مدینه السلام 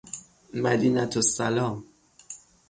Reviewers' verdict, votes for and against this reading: accepted, 6, 0